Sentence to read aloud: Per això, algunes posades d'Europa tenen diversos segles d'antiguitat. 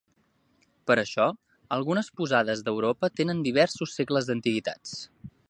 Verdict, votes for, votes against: rejected, 0, 2